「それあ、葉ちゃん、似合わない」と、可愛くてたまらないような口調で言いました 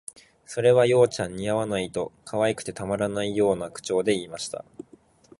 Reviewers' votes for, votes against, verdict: 2, 1, accepted